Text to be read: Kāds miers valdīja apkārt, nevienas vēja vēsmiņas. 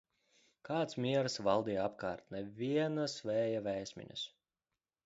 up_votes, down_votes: 2, 0